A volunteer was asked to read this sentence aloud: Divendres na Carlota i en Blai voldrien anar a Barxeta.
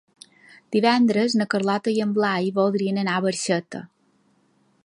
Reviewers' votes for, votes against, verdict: 3, 0, accepted